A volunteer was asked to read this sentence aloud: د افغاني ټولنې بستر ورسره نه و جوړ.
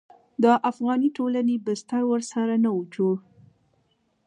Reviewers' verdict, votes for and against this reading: accepted, 2, 1